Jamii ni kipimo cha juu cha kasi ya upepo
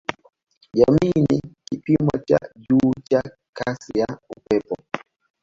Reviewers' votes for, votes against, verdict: 2, 0, accepted